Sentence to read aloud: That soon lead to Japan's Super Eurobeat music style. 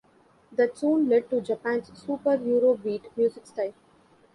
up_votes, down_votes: 2, 0